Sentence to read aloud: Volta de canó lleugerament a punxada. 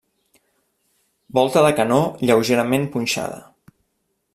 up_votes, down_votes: 2, 0